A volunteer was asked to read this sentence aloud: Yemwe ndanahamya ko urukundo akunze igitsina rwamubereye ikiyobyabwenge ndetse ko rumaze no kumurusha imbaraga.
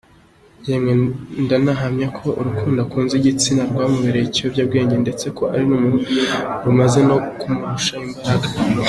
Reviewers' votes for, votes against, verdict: 2, 1, accepted